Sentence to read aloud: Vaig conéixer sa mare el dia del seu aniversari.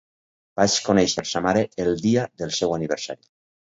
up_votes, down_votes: 4, 0